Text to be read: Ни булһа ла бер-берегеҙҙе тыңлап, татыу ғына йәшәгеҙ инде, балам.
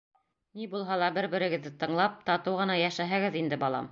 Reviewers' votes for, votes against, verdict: 0, 2, rejected